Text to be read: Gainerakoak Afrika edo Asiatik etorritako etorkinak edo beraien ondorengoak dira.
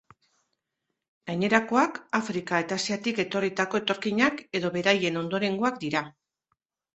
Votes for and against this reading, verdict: 1, 2, rejected